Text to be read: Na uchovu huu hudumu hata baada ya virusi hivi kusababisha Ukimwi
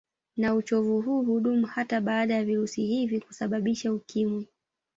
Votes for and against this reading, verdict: 2, 0, accepted